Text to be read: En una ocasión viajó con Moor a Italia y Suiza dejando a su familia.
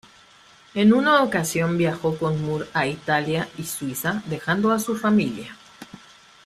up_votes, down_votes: 1, 2